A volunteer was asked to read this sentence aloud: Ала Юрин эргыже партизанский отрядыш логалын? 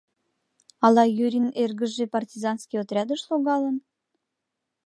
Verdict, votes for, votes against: accepted, 2, 0